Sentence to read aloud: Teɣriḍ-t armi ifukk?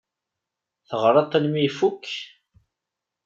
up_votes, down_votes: 2, 0